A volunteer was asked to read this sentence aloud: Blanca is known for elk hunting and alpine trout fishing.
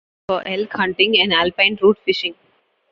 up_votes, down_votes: 0, 2